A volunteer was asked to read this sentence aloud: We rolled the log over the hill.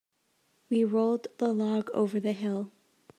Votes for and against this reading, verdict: 2, 0, accepted